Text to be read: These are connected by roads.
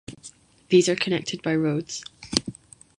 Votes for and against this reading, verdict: 2, 0, accepted